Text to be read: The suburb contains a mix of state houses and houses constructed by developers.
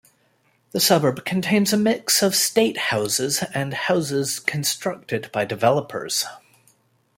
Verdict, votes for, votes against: accepted, 2, 0